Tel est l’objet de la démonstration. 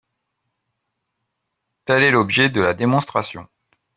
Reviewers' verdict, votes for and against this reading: accepted, 3, 0